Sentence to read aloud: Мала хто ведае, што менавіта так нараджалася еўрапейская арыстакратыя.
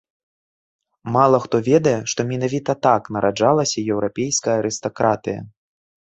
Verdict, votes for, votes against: accepted, 2, 0